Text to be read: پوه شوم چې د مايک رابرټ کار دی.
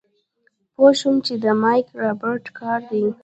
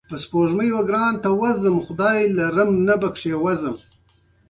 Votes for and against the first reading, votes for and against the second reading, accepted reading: 0, 2, 2, 0, second